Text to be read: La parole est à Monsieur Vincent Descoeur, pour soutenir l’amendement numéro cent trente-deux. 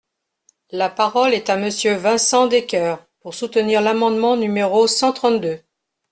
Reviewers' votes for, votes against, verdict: 2, 0, accepted